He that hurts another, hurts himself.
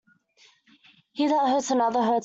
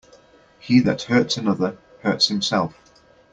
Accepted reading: second